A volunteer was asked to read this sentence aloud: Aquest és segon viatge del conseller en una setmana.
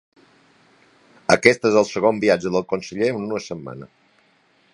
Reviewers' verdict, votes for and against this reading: accepted, 2, 0